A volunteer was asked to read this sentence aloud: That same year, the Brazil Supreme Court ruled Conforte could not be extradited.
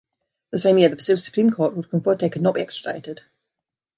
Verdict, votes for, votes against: rejected, 1, 2